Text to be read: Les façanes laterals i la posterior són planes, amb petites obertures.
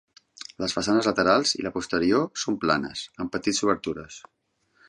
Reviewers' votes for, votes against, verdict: 1, 2, rejected